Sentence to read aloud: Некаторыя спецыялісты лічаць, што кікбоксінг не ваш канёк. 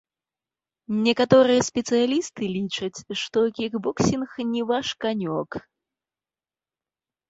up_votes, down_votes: 2, 1